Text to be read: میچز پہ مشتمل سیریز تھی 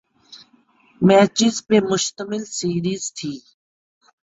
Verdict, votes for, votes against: accepted, 7, 0